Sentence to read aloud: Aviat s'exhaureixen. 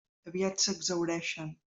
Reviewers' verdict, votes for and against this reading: rejected, 0, 2